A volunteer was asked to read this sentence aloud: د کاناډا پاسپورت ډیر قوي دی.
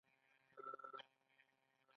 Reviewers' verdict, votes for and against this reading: accepted, 2, 1